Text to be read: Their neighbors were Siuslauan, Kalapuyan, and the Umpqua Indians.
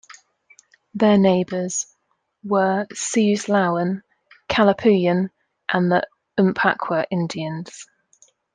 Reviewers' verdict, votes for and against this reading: accepted, 2, 0